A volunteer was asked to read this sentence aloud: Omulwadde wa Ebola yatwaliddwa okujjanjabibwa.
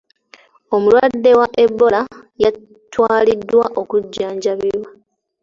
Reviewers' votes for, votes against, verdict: 2, 0, accepted